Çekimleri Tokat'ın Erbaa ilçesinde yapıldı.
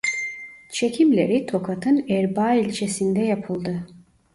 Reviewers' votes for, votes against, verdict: 2, 0, accepted